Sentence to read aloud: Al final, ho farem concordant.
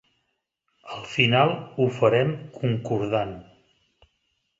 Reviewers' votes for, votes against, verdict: 3, 0, accepted